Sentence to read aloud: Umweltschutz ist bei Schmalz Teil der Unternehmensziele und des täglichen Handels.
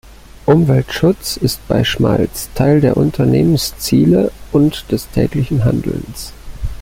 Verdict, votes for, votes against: rejected, 2, 3